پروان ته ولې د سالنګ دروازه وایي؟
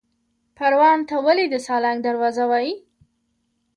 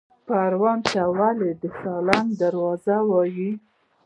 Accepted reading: first